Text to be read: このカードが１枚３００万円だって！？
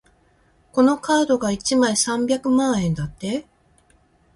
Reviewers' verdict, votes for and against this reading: rejected, 0, 2